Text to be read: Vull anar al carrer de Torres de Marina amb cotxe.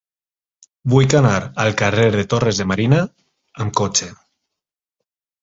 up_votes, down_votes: 0, 4